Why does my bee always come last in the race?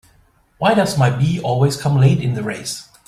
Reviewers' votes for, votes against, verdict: 0, 2, rejected